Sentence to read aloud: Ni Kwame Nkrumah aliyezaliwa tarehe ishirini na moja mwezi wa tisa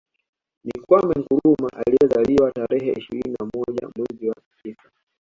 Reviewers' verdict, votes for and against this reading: rejected, 1, 2